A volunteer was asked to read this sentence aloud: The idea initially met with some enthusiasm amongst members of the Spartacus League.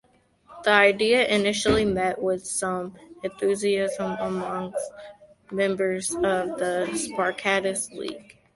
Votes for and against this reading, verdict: 2, 1, accepted